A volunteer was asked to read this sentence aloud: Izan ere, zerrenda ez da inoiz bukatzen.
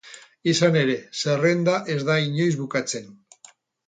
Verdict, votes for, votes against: accepted, 4, 0